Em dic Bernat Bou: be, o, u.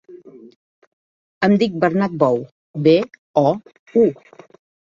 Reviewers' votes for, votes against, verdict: 2, 0, accepted